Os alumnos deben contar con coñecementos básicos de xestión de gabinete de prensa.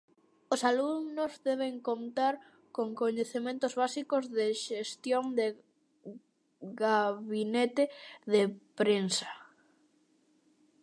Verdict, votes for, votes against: rejected, 0, 2